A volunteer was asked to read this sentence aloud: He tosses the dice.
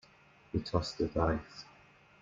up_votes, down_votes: 2, 0